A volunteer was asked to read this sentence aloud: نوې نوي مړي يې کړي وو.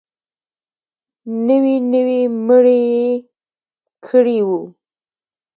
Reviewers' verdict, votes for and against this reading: rejected, 1, 2